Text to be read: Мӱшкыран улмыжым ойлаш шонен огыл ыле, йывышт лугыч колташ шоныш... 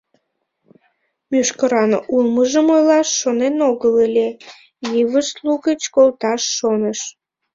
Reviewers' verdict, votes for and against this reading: accepted, 3, 0